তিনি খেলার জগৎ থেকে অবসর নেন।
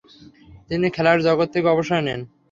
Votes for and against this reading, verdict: 3, 0, accepted